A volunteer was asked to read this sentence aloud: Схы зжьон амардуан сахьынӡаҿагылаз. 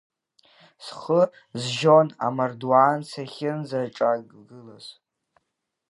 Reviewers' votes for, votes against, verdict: 0, 2, rejected